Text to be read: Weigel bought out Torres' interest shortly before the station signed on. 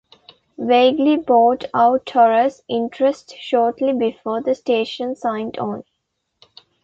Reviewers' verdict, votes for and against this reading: rejected, 0, 2